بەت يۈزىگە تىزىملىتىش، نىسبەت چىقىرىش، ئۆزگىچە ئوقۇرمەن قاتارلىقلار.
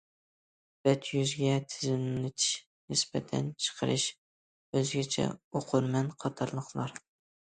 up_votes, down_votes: 0, 2